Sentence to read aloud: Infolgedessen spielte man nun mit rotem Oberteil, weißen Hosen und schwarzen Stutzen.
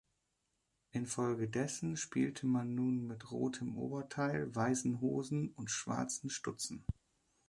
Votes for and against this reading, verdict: 3, 0, accepted